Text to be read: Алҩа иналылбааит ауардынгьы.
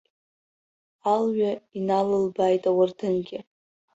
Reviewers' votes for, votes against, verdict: 2, 0, accepted